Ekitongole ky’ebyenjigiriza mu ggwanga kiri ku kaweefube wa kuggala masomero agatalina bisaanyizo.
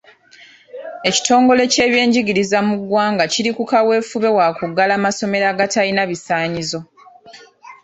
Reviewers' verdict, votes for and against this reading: accepted, 2, 0